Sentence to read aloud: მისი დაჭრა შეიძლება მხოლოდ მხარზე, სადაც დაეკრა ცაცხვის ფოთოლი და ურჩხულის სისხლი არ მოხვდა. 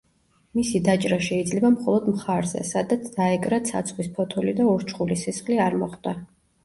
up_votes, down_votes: 2, 0